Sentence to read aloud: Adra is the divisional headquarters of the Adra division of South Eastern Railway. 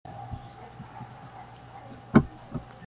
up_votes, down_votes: 0, 2